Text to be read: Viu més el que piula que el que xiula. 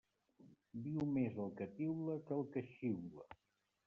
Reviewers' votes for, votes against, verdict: 0, 2, rejected